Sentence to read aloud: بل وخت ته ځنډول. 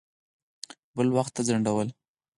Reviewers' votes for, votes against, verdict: 4, 0, accepted